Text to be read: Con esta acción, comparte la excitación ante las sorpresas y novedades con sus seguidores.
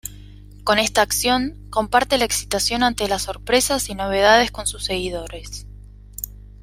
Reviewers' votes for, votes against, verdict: 2, 0, accepted